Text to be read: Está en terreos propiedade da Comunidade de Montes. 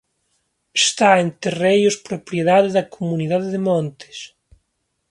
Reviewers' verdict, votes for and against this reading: rejected, 1, 2